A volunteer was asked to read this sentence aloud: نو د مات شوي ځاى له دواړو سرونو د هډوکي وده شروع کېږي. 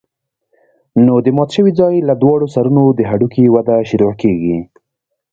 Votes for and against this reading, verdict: 0, 2, rejected